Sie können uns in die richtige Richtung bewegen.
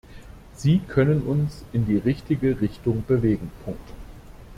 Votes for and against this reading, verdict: 0, 2, rejected